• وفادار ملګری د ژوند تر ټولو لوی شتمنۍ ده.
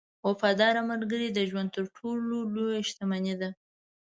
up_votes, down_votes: 1, 2